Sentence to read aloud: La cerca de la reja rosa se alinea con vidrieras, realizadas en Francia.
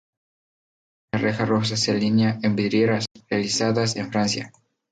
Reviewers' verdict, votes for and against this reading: rejected, 0, 2